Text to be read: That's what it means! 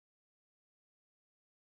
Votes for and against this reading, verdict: 0, 2, rejected